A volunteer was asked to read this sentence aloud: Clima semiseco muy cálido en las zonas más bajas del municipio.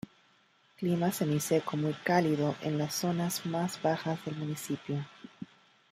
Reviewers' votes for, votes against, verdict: 1, 2, rejected